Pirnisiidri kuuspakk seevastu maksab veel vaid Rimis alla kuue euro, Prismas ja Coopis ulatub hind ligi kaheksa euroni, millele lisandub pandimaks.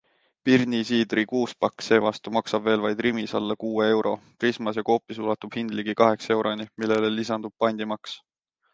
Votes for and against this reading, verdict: 2, 0, accepted